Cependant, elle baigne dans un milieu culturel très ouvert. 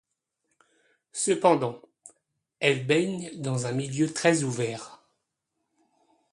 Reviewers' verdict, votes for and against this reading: rejected, 1, 2